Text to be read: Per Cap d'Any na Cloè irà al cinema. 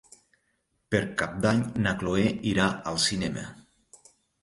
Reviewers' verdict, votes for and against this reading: accepted, 3, 0